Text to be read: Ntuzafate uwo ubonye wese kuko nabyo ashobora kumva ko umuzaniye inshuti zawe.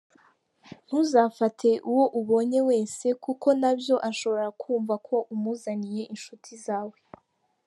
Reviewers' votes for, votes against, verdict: 2, 0, accepted